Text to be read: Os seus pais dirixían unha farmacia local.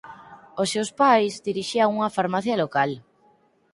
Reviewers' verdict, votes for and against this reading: accepted, 4, 0